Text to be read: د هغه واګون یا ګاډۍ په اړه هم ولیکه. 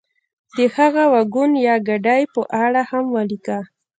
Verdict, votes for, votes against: rejected, 0, 2